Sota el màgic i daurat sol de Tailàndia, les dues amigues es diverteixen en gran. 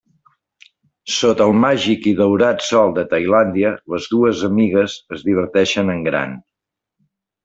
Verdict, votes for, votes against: accepted, 3, 0